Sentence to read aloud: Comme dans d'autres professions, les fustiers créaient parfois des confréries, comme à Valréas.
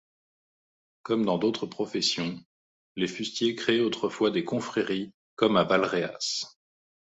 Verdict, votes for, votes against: rejected, 0, 2